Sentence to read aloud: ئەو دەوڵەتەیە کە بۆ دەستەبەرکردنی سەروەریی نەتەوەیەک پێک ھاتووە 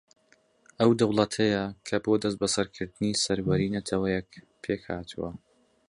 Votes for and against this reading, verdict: 2, 0, accepted